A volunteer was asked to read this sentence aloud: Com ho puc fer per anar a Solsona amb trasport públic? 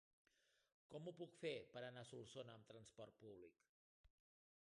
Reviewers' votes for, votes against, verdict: 0, 2, rejected